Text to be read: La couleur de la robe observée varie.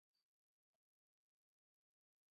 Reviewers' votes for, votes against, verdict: 0, 2, rejected